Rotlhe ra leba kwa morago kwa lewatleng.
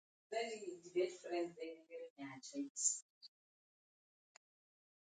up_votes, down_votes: 1, 2